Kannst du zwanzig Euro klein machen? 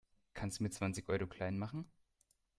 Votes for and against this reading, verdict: 1, 2, rejected